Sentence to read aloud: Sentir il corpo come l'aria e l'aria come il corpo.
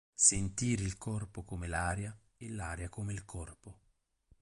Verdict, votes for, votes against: rejected, 2, 2